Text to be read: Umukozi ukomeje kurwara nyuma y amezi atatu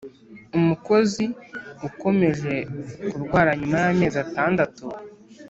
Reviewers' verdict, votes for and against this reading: rejected, 1, 2